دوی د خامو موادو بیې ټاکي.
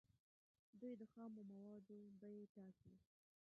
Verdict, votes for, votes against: rejected, 1, 2